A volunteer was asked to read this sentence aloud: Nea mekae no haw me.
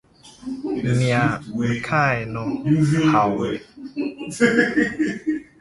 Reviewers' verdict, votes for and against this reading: rejected, 1, 2